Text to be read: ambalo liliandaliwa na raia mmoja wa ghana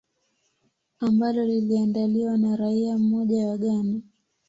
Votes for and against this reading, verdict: 2, 0, accepted